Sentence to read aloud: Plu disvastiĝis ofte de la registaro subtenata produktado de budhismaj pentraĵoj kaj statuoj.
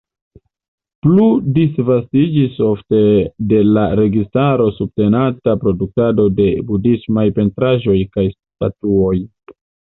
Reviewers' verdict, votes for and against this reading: accepted, 2, 0